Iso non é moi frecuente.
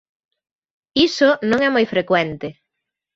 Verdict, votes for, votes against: accepted, 2, 0